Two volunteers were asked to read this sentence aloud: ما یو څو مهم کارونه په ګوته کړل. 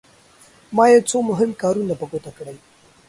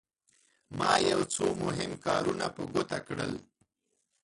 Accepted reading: first